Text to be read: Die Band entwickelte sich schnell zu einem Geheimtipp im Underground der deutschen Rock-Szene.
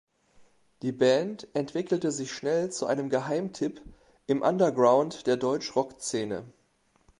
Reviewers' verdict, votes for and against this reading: rejected, 0, 2